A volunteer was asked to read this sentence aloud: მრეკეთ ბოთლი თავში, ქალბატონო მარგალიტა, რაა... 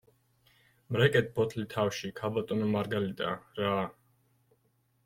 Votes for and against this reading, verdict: 1, 2, rejected